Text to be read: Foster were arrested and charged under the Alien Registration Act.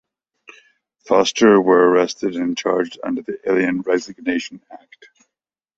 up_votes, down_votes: 1, 2